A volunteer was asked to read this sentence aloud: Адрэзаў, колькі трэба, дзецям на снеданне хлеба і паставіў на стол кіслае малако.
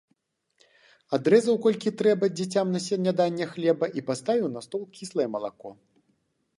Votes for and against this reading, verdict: 1, 2, rejected